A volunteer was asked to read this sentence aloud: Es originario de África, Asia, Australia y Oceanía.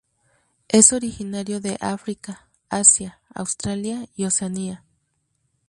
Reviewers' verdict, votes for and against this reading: accepted, 4, 0